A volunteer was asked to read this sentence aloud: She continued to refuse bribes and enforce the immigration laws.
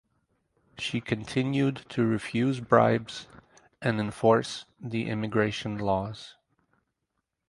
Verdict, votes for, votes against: rejected, 2, 2